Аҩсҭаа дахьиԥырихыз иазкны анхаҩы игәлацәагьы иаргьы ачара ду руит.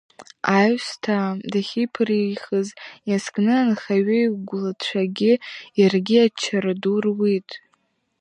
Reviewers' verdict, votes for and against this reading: rejected, 1, 2